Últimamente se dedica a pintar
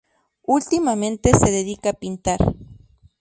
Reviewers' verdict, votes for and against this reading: rejected, 0, 2